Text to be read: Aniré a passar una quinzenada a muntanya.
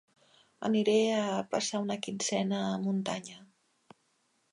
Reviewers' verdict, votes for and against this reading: rejected, 1, 2